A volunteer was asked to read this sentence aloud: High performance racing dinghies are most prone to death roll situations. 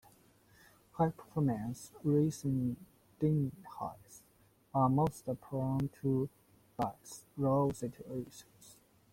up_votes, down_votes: 0, 2